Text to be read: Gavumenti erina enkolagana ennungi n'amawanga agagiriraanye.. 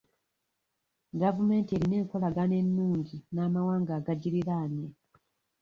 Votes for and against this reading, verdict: 1, 2, rejected